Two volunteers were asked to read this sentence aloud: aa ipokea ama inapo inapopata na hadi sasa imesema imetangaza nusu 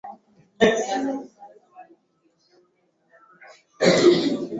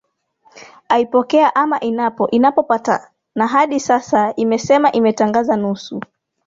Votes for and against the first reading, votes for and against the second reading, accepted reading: 0, 4, 2, 1, second